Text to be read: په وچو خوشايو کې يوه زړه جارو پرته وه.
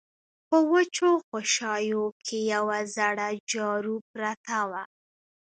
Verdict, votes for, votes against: accepted, 2, 0